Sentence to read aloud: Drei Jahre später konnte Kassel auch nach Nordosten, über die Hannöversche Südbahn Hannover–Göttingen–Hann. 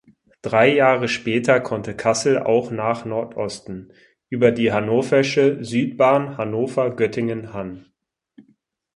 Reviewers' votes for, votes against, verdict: 4, 6, rejected